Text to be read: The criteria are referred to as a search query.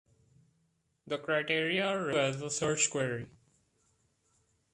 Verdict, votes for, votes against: rejected, 0, 2